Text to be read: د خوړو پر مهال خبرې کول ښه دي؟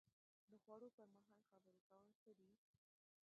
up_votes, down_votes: 0, 2